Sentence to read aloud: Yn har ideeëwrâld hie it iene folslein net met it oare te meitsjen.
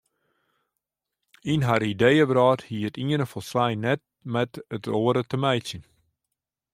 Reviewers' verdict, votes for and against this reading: accepted, 2, 0